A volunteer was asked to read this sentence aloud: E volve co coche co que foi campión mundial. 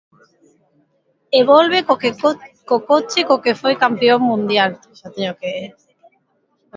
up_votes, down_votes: 0, 2